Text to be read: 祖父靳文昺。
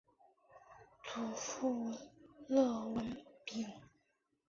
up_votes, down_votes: 4, 3